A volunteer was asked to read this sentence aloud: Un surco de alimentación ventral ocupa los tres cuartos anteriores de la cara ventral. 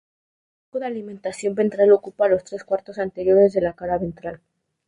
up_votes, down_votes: 0, 2